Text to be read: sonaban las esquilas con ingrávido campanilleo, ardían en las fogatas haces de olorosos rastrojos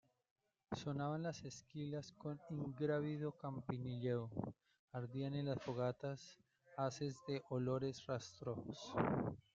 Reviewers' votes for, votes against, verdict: 0, 2, rejected